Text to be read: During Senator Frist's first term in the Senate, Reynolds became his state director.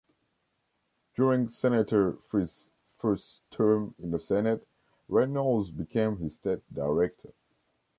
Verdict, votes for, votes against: rejected, 0, 2